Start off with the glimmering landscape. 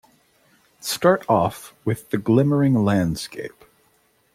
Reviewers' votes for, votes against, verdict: 2, 0, accepted